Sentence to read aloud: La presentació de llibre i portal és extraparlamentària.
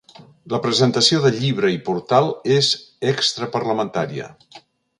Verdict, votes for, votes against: accepted, 3, 0